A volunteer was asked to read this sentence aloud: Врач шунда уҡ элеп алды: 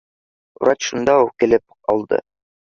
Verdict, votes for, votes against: rejected, 0, 2